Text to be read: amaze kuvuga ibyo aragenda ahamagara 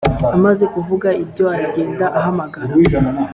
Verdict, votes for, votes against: accepted, 2, 0